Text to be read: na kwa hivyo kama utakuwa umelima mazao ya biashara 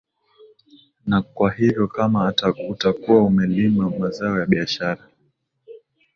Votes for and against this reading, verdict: 2, 0, accepted